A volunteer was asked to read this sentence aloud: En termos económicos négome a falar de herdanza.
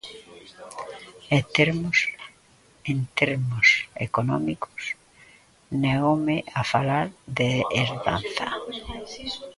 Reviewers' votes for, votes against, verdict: 1, 2, rejected